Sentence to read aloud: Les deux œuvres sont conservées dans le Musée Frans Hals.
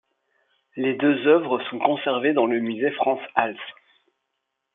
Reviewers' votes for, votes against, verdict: 2, 0, accepted